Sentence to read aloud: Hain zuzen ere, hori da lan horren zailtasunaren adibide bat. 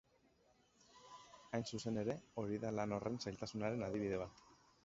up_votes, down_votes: 6, 0